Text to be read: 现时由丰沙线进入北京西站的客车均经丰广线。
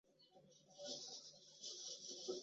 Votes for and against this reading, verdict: 1, 5, rejected